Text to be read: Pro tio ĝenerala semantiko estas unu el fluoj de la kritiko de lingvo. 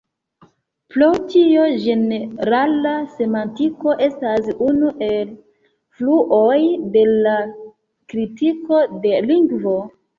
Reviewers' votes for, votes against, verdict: 2, 1, accepted